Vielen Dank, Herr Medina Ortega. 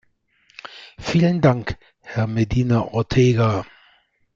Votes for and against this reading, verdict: 2, 0, accepted